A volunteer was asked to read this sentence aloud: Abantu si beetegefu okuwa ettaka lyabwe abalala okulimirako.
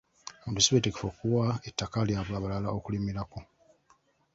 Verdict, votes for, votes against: accepted, 2, 1